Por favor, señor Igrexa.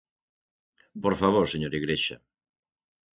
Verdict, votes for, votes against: accepted, 6, 0